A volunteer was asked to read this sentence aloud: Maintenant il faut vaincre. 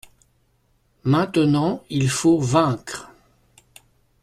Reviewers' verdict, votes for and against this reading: accepted, 2, 0